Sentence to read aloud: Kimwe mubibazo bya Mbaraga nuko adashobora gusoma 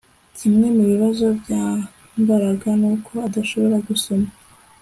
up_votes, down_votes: 2, 0